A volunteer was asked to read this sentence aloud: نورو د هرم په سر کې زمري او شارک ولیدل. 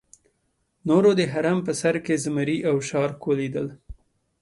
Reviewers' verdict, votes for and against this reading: accepted, 2, 0